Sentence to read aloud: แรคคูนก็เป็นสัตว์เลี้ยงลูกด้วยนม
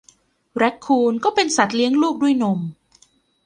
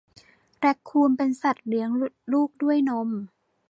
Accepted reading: first